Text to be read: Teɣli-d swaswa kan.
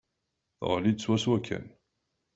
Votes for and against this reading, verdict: 2, 0, accepted